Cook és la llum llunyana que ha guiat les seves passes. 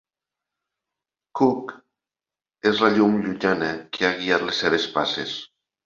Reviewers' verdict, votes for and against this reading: accepted, 2, 0